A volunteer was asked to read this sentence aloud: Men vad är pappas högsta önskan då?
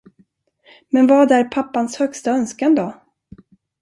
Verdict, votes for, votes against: rejected, 0, 2